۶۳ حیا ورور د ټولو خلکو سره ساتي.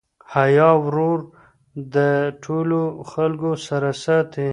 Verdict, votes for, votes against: rejected, 0, 2